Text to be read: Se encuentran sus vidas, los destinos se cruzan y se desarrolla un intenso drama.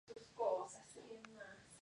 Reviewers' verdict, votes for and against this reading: rejected, 0, 2